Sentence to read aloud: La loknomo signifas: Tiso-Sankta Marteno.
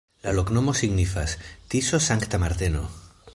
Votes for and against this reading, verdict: 1, 2, rejected